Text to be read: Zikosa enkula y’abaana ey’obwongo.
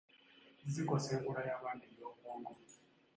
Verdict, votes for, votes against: accepted, 3, 2